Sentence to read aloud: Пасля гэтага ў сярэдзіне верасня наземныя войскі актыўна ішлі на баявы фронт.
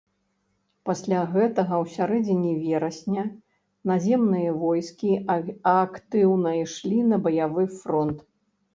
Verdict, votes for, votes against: rejected, 1, 2